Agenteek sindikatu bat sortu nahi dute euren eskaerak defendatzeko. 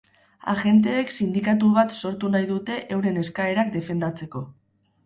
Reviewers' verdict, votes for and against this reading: rejected, 2, 2